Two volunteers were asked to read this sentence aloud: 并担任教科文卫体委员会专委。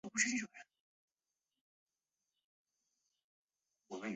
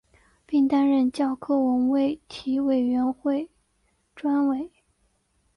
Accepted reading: second